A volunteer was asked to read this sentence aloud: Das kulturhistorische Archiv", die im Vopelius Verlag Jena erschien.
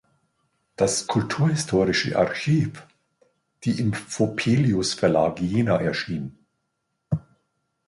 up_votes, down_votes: 2, 0